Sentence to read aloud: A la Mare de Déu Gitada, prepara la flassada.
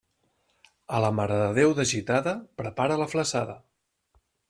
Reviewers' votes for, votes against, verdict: 1, 2, rejected